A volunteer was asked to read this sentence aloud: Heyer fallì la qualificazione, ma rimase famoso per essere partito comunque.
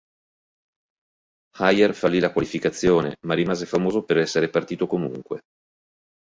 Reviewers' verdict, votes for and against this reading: accepted, 4, 0